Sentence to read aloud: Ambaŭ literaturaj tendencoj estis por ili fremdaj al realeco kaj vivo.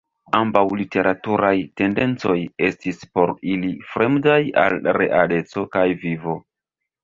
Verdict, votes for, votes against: rejected, 1, 2